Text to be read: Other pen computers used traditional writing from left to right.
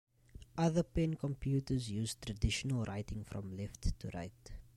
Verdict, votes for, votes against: accepted, 2, 0